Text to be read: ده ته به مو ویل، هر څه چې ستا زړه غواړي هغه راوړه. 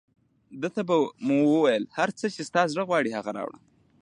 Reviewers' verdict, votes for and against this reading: accepted, 2, 1